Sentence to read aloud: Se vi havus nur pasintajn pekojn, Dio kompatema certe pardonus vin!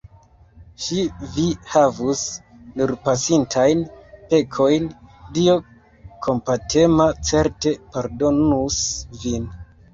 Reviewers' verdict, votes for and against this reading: rejected, 0, 2